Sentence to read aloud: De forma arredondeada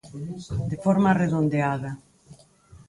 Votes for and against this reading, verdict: 2, 4, rejected